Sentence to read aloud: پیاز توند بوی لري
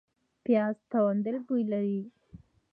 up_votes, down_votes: 2, 0